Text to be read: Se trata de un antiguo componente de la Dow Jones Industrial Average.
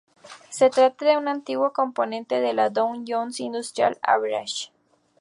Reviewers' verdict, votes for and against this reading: rejected, 0, 4